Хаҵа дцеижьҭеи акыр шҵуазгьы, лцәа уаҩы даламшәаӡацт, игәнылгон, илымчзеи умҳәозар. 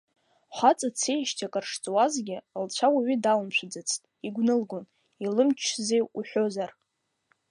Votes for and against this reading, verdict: 1, 2, rejected